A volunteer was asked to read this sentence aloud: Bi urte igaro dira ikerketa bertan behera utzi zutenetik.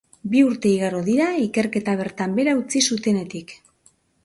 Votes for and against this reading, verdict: 2, 0, accepted